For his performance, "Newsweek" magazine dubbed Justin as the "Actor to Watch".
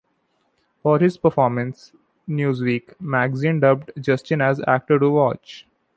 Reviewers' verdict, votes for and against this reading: rejected, 0, 2